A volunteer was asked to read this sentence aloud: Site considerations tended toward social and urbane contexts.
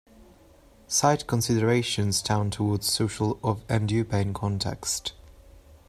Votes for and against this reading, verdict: 0, 2, rejected